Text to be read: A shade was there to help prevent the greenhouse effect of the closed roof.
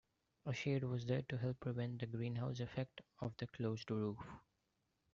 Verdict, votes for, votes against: accepted, 2, 0